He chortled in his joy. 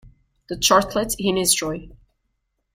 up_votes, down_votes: 0, 2